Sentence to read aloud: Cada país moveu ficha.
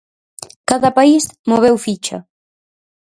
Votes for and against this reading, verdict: 4, 0, accepted